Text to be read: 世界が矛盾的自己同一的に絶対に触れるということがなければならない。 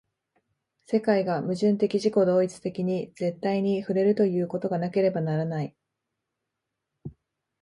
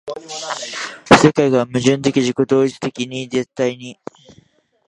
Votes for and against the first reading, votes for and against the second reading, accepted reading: 2, 0, 0, 2, first